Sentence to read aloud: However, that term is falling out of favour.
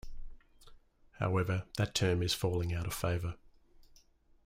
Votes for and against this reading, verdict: 2, 0, accepted